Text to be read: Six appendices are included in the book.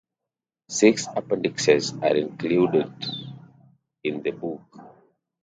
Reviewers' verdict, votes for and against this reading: rejected, 0, 2